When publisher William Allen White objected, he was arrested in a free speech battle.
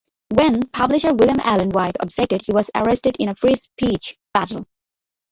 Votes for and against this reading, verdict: 0, 2, rejected